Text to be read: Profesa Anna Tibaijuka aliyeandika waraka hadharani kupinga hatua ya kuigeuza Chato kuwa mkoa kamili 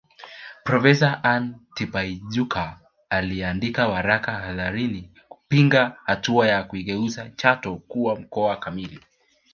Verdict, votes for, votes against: rejected, 1, 2